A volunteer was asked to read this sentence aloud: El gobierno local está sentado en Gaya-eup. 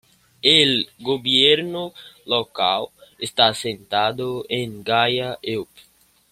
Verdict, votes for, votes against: accepted, 2, 1